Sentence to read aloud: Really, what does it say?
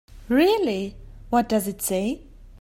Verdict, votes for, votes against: accepted, 2, 0